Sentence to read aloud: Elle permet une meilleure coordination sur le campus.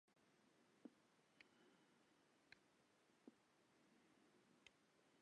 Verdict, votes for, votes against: rejected, 0, 2